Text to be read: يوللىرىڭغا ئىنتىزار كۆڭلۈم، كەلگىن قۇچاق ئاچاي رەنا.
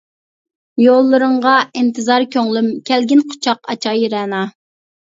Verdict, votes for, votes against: accepted, 2, 0